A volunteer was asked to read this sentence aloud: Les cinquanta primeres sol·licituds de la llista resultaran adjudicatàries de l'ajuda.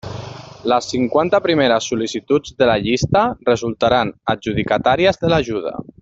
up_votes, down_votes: 1, 2